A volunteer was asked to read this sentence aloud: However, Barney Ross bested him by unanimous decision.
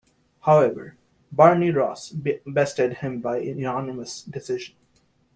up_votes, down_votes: 0, 2